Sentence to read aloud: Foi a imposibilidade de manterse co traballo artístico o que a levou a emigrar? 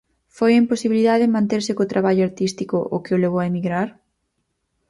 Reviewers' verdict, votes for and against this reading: rejected, 0, 4